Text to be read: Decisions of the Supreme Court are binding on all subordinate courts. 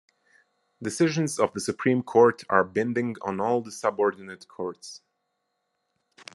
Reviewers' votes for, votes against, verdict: 0, 2, rejected